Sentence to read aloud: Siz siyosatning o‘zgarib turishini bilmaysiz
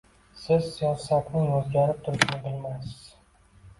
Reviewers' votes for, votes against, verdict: 2, 0, accepted